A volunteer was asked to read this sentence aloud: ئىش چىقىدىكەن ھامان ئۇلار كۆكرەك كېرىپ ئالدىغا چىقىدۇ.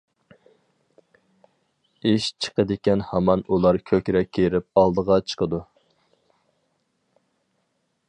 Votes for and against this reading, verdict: 4, 0, accepted